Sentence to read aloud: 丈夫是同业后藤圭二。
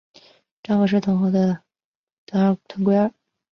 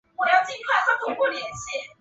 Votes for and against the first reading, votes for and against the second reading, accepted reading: 2, 1, 0, 4, first